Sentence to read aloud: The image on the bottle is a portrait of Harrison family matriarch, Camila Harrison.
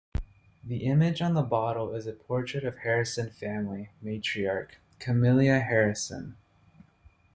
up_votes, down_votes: 0, 2